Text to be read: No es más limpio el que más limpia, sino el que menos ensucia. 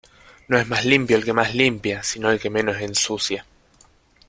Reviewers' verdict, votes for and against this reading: accepted, 2, 0